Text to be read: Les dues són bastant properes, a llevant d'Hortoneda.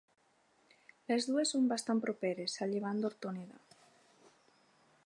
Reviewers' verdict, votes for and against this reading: accepted, 4, 0